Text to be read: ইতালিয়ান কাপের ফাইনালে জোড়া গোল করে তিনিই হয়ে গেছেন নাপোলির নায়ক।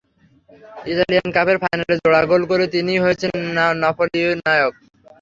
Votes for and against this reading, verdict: 0, 3, rejected